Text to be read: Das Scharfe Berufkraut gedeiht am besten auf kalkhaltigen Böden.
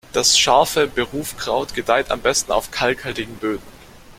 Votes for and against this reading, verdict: 2, 0, accepted